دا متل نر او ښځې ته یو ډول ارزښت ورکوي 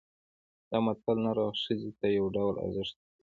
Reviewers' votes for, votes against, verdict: 2, 0, accepted